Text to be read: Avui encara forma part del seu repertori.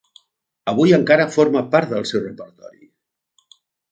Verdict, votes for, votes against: rejected, 1, 2